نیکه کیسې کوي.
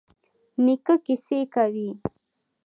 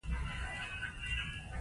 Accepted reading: first